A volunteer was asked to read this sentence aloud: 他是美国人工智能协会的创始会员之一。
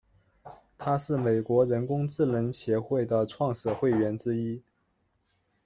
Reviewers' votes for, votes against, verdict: 2, 0, accepted